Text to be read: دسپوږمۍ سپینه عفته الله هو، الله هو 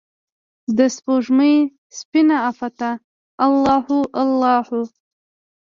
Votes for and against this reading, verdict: 2, 0, accepted